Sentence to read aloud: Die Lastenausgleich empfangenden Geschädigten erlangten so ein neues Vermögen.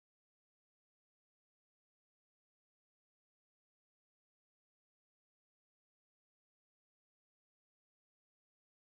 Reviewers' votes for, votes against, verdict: 0, 2, rejected